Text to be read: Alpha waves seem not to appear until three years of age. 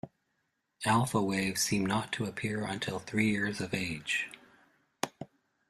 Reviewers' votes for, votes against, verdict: 2, 0, accepted